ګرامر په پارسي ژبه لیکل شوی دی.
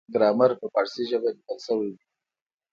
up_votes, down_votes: 2, 0